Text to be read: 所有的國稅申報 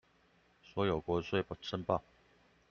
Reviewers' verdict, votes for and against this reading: rejected, 0, 2